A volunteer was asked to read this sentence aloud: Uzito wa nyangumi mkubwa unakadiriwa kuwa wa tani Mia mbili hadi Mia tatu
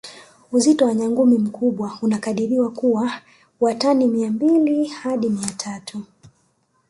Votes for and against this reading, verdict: 2, 0, accepted